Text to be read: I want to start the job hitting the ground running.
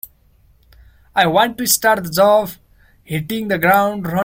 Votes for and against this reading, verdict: 0, 2, rejected